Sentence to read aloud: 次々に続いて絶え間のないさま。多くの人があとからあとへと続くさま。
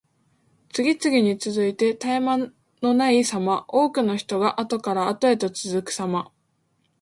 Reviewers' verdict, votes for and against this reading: accepted, 2, 1